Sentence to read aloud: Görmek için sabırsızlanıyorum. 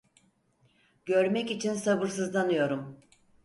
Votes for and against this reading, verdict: 4, 0, accepted